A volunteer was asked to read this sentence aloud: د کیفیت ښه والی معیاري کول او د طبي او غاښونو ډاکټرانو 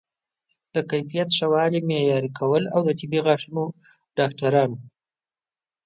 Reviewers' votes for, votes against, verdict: 0, 2, rejected